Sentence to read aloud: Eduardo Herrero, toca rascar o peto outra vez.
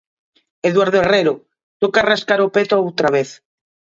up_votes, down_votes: 2, 1